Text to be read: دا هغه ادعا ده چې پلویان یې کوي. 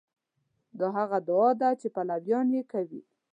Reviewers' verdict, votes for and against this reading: accepted, 2, 0